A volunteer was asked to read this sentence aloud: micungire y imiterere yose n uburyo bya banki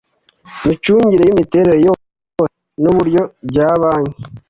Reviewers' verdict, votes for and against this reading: rejected, 1, 2